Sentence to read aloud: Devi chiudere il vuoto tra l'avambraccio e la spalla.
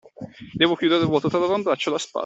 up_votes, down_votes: 0, 2